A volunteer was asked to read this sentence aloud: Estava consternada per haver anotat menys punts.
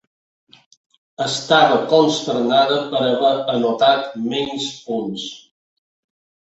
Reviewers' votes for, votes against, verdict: 2, 0, accepted